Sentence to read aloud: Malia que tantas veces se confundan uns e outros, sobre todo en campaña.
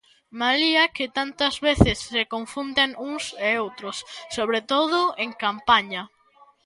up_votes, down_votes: 0, 2